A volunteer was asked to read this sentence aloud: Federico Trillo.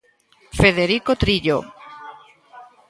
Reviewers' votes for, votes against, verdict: 2, 0, accepted